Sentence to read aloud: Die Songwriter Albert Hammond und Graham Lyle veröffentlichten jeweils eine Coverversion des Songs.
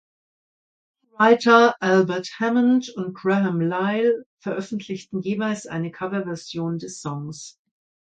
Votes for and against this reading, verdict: 0, 2, rejected